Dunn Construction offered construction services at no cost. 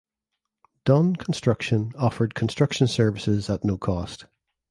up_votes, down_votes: 2, 0